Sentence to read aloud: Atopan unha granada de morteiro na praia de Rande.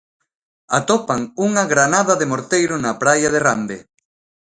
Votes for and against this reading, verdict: 2, 0, accepted